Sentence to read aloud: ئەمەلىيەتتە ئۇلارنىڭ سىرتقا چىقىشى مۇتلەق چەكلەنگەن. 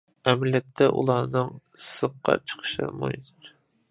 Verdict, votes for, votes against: rejected, 0, 2